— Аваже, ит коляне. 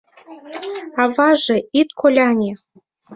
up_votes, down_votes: 2, 0